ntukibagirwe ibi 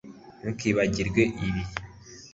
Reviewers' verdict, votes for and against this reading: accepted, 2, 0